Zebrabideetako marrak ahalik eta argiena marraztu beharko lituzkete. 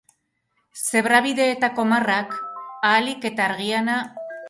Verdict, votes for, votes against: rejected, 0, 2